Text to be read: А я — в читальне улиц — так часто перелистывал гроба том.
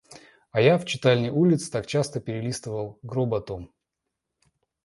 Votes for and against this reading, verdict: 2, 0, accepted